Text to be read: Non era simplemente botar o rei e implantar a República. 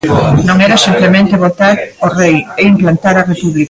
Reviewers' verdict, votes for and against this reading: rejected, 0, 2